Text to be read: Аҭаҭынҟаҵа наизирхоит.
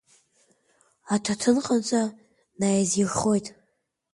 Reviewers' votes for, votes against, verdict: 2, 1, accepted